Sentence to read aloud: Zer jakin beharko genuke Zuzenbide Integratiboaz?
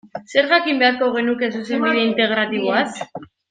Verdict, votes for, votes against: rejected, 0, 2